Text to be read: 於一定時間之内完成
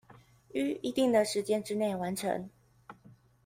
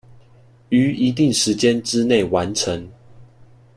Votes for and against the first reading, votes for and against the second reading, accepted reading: 1, 2, 2, 0, second